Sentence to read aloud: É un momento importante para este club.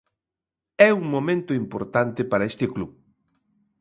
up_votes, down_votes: 2, 0